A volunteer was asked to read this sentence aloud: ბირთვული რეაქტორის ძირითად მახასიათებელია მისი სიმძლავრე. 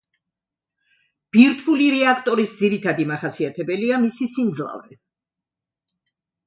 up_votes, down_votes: 2, 0